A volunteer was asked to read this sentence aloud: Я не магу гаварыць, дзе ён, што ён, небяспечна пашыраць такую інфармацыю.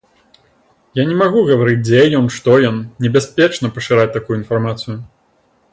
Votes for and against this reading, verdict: 2, 0, accepted